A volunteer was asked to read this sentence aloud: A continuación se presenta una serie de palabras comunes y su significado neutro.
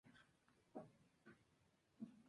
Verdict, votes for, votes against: rejected, 0, 2